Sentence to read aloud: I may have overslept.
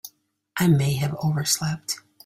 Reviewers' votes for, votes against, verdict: 2, 0, accepted